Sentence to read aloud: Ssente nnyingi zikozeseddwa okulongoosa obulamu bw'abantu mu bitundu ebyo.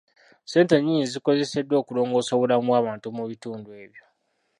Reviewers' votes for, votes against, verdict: 2, 1, accepted